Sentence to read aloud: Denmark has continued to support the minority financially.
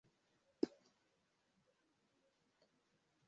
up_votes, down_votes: 0, 2